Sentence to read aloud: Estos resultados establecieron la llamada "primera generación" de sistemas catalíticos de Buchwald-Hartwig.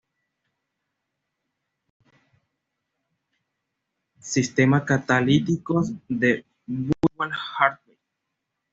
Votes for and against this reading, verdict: 1, 2, rejected